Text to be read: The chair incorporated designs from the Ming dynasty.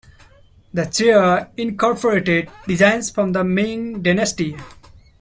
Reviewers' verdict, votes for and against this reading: accepted, 2, 0